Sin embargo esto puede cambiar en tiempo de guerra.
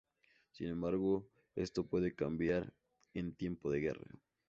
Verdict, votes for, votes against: accepted, 2, 0